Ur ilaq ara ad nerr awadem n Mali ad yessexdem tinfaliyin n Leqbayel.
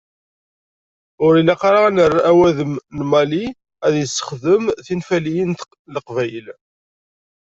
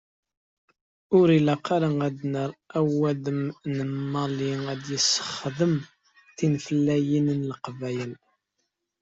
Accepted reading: first